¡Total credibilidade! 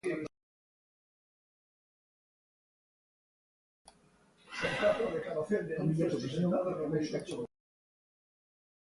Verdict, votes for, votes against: rejected, 0, 2